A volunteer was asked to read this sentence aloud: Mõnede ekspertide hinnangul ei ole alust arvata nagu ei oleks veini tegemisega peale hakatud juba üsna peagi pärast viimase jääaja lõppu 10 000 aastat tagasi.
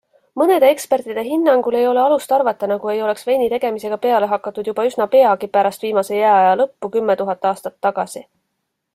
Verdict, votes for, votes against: rejected, 0, 2